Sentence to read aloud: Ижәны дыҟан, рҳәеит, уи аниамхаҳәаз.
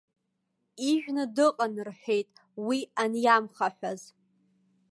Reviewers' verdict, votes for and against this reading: accepted, 2, 0